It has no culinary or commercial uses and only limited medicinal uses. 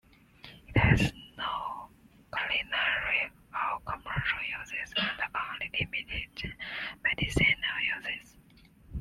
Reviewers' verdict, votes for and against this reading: rejected, 1, 2